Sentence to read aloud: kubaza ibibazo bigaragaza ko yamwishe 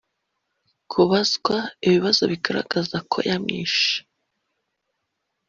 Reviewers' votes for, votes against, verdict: 0, 2, rejected